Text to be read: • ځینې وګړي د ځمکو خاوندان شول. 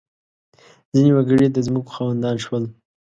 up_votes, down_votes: 2, 0